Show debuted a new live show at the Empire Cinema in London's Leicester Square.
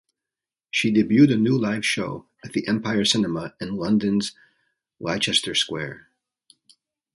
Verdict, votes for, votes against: rejected, 1, 2